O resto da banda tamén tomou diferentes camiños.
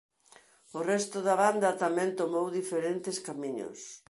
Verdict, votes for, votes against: accepted, 2, 0